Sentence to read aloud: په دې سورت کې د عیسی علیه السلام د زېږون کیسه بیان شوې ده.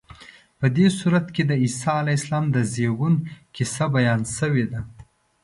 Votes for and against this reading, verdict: 2, 0, accepted